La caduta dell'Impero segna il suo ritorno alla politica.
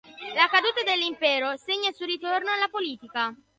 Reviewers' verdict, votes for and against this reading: accepted, 2, 0